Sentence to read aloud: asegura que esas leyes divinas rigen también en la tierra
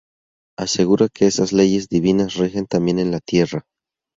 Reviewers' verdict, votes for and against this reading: accepted, 2, 0